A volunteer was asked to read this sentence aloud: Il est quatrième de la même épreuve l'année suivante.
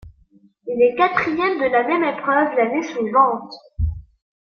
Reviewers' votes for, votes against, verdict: 2, 0, accepted